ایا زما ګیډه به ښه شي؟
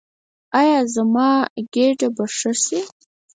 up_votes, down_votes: 2, 4